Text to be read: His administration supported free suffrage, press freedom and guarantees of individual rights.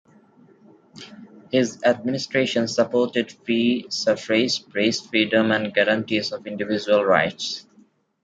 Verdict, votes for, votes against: accepted, 2, 1